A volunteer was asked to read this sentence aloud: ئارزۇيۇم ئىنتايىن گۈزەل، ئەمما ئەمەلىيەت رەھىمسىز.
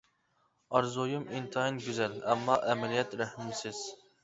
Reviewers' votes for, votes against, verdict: 1, 2, rejected